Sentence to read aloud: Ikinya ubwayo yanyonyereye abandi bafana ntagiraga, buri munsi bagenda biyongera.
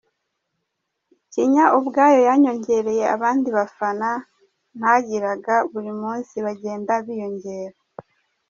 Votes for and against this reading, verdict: 0, 2, rejected